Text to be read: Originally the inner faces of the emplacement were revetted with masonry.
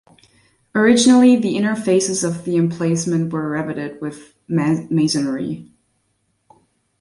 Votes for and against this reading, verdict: 2, 1, accepted